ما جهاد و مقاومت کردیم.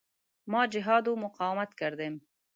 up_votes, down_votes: 0, 2